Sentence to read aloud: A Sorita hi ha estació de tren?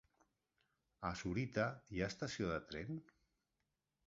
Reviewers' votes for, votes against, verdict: 2, 0, accepted